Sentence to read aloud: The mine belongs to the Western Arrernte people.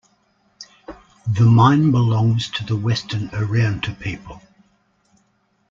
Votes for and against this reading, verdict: 2, 1, accepted